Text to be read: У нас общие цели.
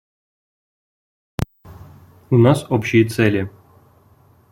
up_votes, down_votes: 2, 0